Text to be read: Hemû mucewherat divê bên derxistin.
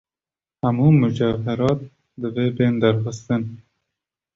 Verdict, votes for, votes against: accepted, 2, 0